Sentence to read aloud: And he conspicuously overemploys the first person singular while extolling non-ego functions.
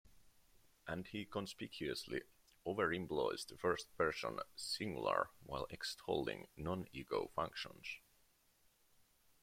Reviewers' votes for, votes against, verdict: 2, 1, accepted